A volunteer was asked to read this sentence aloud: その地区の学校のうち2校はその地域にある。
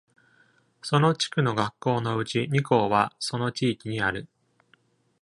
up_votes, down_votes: 0, 2